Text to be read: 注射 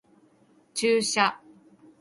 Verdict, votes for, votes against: rejected, 0, 2